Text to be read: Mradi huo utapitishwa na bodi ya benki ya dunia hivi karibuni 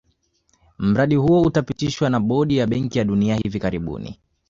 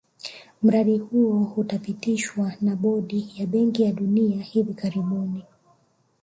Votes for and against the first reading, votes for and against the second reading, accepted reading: 2, 0, 1, 2, first